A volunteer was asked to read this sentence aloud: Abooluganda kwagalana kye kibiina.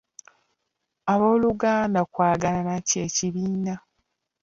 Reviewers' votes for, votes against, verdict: 2, 1, accepted